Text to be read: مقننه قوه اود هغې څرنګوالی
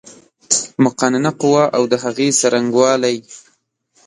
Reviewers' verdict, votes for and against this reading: accepted, 2, 0